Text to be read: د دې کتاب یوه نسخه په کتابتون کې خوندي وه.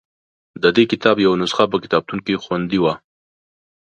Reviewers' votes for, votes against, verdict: 2, 0, accepted